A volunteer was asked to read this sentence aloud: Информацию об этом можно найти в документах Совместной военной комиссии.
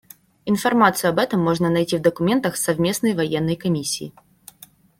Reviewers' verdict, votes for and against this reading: accepted, 2, 0